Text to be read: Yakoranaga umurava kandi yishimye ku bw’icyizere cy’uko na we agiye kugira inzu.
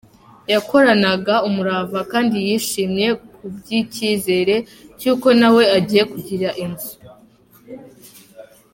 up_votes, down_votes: 0, 2